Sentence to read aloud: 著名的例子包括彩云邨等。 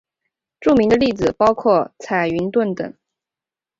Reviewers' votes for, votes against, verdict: 3, 0, accepted